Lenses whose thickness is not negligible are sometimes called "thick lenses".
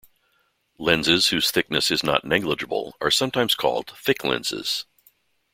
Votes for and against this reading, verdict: 2, 0, accepted